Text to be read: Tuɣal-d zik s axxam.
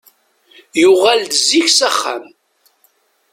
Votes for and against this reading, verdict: 0, 2, rejected